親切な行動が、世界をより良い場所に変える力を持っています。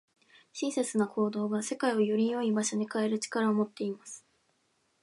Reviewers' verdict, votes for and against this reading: accepted, 2, 0